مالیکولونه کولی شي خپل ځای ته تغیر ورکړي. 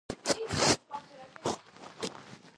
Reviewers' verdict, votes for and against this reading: accepted, 2, 1